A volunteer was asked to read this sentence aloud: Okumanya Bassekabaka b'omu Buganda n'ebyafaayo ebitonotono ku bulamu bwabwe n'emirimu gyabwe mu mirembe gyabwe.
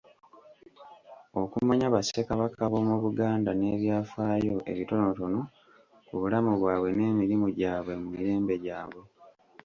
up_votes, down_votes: 2, 0